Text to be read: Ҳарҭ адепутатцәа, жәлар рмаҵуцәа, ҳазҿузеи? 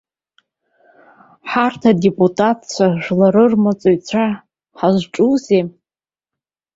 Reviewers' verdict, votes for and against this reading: rejected, 0, 2